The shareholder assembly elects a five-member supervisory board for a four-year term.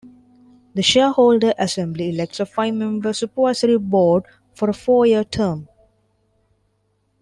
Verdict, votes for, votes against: rejected, 0, 2